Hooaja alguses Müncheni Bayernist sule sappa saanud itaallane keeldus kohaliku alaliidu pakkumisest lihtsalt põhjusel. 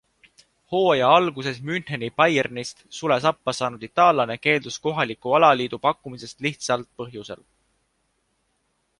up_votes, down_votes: 2, 0